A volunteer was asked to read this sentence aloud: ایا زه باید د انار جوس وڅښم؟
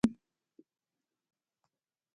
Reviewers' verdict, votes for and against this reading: rejected, 1, 3